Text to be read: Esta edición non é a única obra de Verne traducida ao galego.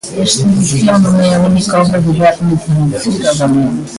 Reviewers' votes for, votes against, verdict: 0, 2, rejected